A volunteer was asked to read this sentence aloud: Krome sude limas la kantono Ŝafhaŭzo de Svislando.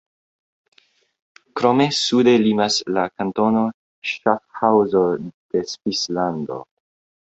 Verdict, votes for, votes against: rejected, 1, 3